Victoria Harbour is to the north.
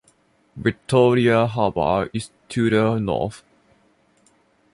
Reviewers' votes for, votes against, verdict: 2, 0, accepted